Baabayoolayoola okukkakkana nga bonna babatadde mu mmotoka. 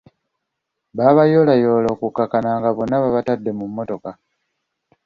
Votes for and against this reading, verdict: 2, 0, accepted